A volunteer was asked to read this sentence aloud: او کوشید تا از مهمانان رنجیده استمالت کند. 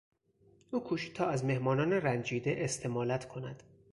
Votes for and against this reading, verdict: 4, 2, accepted